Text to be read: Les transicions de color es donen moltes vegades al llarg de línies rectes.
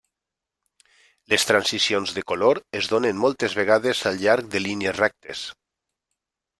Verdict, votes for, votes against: accepted, 2, 0